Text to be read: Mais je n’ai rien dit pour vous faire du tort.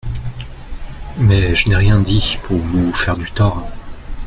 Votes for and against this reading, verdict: 1, 2, rejected